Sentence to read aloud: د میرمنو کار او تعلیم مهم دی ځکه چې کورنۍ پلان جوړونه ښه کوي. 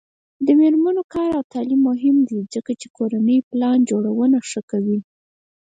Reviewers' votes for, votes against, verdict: 4, 0, accepted